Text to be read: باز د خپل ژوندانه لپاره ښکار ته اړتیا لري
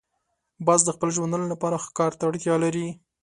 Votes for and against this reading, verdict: 2, 0, accepted